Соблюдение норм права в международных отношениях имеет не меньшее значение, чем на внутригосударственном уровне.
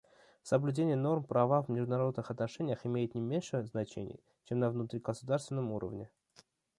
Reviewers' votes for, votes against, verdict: 0, 2, rejected